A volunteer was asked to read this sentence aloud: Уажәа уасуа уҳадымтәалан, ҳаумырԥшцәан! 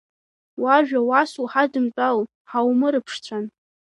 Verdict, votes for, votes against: rejected, 1, 2